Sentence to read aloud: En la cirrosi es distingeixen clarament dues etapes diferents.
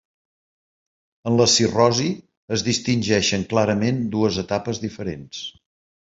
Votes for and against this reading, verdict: 2, 1, accepted